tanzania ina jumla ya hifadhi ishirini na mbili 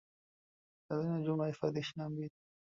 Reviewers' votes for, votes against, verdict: 1, 2, rejected